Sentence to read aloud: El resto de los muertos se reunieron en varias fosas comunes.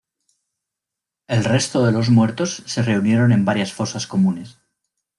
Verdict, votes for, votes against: accepted, 2, 0